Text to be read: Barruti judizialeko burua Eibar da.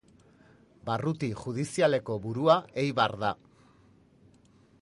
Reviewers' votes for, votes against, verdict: 2, 0, accepted